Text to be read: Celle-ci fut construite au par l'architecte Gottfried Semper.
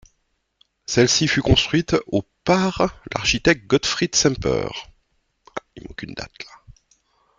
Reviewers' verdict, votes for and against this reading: rejected, 0, 3